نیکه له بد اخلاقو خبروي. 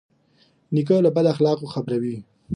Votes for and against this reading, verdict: 4, 0, accepted